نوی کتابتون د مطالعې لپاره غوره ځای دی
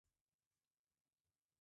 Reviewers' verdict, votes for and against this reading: rejected, 1, 2